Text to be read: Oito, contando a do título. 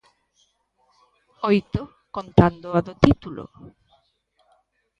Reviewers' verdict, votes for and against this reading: accepted, 2, 0